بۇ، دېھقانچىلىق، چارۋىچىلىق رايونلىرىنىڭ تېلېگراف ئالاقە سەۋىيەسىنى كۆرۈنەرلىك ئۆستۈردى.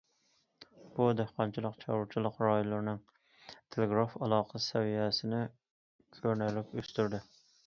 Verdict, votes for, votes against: rejected, 1, 2